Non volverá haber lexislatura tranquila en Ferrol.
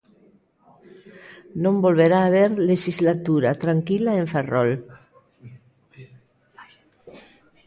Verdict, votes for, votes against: rejected, 1, 2